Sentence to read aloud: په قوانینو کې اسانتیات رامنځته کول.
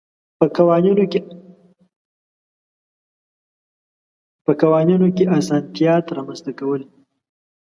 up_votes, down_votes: 1, 2